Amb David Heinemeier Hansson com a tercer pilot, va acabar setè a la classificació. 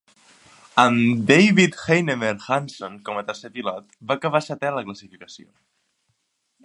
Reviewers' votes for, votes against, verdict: 3, 0, accepted